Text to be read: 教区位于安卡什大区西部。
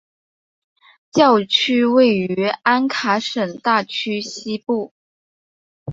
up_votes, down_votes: 2, 0